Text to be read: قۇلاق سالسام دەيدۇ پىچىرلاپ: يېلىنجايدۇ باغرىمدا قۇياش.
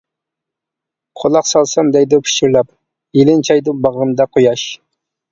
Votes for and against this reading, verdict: 1, 2, rejected